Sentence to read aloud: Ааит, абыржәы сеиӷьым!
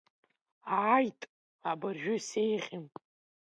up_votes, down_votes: 1, 2